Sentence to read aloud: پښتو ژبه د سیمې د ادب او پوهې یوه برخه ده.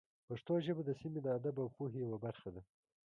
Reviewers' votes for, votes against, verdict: 2, 0, accepted